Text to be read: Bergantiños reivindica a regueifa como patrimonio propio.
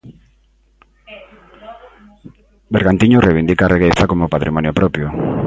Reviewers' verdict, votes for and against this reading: accepted, 2, 0